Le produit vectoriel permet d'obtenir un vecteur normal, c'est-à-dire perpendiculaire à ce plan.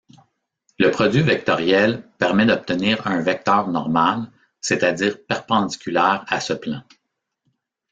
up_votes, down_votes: 3, 0